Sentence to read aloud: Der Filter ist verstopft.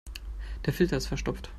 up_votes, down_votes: 2, 0